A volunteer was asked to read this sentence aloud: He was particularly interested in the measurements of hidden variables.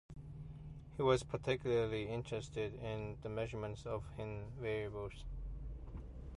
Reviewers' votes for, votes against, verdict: 0, 2, rejected